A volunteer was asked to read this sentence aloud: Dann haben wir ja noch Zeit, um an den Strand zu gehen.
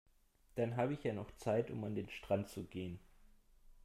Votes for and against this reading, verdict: 0, 2, rejected